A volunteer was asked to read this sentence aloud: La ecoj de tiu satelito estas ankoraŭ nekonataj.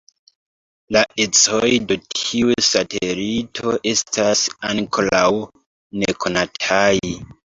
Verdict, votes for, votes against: rejected, 1, 2